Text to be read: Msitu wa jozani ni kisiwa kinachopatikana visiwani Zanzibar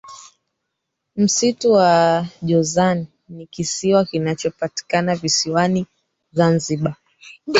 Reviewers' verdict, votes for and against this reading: accepted, 3, 2